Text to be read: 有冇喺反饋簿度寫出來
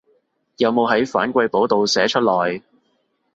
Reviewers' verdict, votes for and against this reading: accepted, 2, 0